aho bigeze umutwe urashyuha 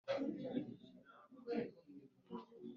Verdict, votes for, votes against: rejected, 1, 2